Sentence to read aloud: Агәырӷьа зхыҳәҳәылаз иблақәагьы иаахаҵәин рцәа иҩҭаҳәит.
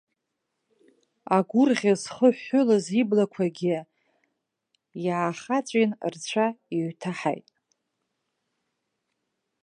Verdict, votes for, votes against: rejected, 1, 3